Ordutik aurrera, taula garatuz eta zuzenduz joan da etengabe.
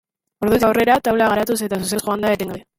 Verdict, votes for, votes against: rejected, 0, 2